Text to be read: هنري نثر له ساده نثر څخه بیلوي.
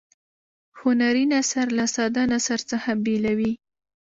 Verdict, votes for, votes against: accepted, 2, 0